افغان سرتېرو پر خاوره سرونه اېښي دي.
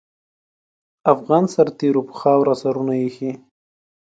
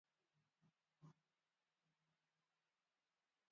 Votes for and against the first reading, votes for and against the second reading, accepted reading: 2, 0, 0, 2, first